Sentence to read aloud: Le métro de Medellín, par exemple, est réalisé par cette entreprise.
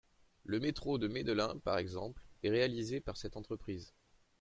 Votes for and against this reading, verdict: 0, 2, rejected